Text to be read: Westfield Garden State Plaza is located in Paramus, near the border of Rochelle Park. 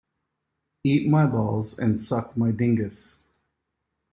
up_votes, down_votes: 0, 2